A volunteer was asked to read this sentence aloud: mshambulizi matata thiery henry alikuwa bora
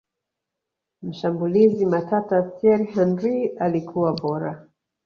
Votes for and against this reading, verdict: 1, 2, rejected